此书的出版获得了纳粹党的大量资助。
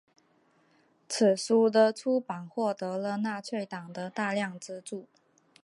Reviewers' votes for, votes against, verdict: 3, 0, accepted